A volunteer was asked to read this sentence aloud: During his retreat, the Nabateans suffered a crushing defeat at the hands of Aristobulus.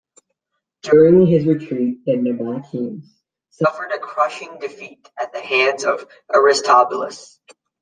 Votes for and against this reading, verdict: 0, 2, rejected